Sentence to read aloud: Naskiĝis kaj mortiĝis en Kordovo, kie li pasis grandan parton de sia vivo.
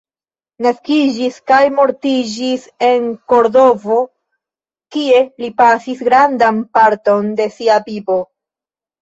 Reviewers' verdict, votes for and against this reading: rejected, 0, 2